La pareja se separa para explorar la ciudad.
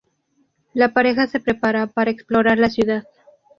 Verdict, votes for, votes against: rejected, 0, 2